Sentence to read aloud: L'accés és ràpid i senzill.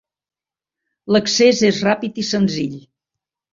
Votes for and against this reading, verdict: 3, 0, accepted